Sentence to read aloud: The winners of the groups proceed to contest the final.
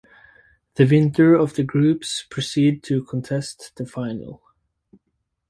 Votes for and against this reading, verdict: 0, 4, rejected